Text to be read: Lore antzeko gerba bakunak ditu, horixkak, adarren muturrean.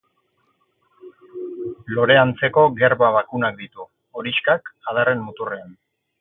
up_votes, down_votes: 6, 0